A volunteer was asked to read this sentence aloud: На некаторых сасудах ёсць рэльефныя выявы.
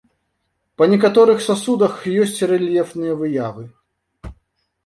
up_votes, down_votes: 1, 2